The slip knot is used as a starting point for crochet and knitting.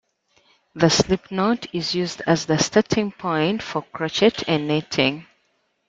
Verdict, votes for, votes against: rejected, 1, 2